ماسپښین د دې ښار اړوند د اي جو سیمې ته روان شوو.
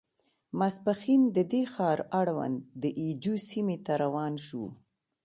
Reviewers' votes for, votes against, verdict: 1, 2, rejected